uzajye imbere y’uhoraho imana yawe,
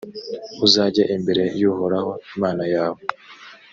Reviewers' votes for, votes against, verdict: 3, 0, accepted